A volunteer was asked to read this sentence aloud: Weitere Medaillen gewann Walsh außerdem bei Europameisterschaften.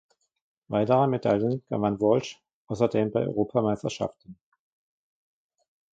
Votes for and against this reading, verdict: 1, 2, rejected